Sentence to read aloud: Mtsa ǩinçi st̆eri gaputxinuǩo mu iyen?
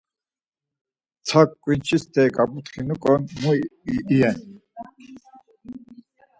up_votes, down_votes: 2, 4